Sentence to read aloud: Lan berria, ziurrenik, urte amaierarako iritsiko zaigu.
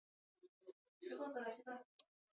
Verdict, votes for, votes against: accepted, 2, 0